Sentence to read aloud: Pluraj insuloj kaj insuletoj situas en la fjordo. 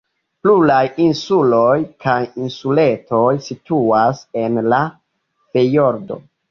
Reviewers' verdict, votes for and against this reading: rejected, 1, 2